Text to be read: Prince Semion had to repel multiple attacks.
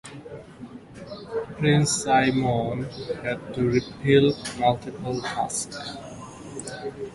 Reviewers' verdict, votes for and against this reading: accepted, 2, 1